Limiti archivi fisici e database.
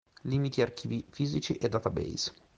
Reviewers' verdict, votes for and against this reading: accepted, 2, 0